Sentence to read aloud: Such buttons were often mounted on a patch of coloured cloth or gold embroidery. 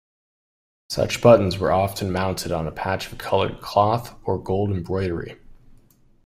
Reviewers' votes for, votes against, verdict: 2, 0, accepted